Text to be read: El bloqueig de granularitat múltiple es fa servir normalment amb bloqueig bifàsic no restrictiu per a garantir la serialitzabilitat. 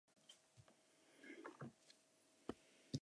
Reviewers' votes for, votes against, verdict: 0, 2, rejected